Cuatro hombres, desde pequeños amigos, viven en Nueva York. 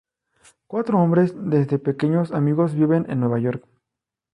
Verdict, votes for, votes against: rejected, 0, 2